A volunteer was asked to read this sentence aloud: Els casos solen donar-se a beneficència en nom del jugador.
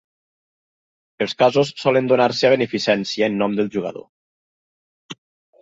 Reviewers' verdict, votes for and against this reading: accepted, 4, 0